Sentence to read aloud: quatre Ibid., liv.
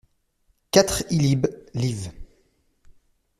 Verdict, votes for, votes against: rejected, 0, 2